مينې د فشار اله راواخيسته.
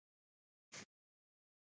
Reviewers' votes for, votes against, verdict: 1, 2, rejected